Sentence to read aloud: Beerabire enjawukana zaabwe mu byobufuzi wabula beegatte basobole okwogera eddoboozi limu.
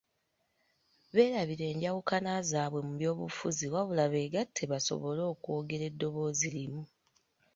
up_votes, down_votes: 1, 2